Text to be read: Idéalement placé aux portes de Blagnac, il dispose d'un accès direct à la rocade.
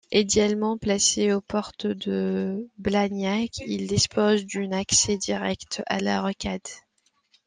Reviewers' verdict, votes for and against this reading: rejected, 0, 2